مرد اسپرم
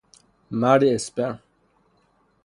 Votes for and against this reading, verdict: 0, 3, rejected